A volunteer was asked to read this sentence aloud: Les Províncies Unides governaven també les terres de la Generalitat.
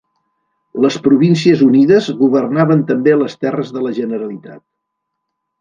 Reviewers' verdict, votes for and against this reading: rejected, 0, 2